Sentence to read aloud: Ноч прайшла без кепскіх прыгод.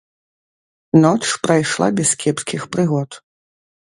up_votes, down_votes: 2, 0